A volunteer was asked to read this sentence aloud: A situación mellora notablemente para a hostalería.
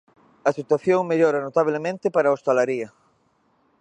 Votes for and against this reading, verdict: 2, 0, accepted